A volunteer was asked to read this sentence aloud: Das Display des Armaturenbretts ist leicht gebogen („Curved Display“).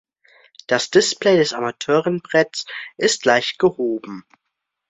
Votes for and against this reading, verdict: 0, 2, rejected